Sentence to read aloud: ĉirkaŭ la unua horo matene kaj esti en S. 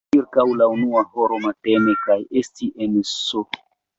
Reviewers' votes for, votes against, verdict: 2, 1, accepted